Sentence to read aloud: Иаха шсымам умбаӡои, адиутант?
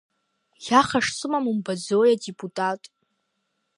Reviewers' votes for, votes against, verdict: 1, 2, rejected